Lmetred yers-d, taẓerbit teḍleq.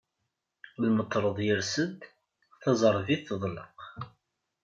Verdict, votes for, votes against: rejected, 1, 2